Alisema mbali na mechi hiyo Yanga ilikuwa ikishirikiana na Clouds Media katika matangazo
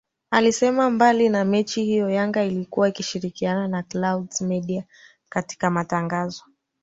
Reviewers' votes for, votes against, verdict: 3, 0, accepted